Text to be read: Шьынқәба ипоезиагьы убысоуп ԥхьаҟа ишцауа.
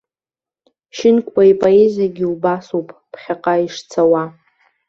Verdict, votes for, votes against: rejected, 1, 2